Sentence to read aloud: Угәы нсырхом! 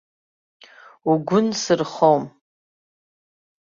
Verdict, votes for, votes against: accepted, 2, 0